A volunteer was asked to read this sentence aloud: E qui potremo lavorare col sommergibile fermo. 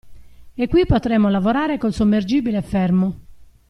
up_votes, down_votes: 2, 0